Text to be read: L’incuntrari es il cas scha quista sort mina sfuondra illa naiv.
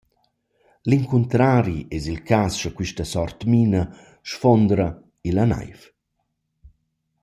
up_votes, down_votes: 2, 0